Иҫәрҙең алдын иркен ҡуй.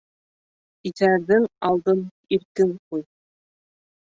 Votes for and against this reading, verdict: 1, 2, rejected